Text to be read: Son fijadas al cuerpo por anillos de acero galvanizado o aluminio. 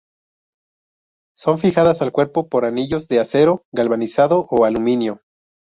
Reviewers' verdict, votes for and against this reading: accepted, 2, 0